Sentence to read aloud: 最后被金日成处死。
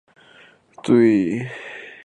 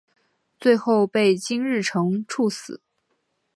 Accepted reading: second